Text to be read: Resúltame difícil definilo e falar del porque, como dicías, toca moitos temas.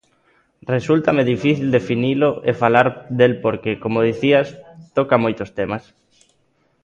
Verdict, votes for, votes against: accepted, 2, 0